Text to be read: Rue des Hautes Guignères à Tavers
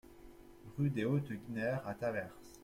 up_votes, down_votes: 2, 0